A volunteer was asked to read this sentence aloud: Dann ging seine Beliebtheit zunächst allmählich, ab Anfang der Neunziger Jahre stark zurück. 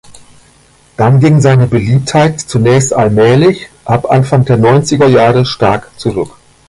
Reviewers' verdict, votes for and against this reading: rejected, 1, 2